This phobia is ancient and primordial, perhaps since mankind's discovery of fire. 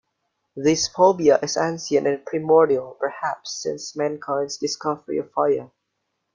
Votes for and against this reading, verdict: 2, 1, accepted